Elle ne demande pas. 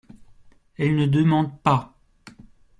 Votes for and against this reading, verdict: 2, 0, accepted